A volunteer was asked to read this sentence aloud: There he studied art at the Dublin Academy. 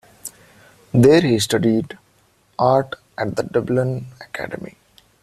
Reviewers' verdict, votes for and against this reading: accepted, 2, 1